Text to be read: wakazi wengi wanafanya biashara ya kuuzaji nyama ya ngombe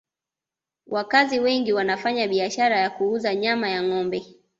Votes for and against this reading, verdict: 2, 1, accepted